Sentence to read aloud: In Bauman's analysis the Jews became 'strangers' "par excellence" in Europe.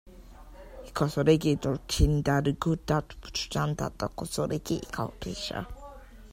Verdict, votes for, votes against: rejected, 0, 2